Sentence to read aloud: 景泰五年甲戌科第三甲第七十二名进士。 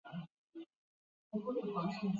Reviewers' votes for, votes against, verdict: 0, 3, rejected